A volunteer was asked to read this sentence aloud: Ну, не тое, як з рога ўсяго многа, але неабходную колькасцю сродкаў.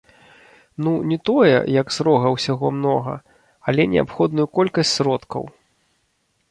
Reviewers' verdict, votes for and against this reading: rejected, 1, 2